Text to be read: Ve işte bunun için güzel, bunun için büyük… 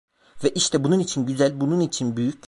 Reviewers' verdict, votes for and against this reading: rejected, 0, 2